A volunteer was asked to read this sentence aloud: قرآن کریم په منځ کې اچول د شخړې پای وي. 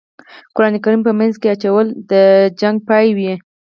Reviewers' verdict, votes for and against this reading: rejected, 0, 4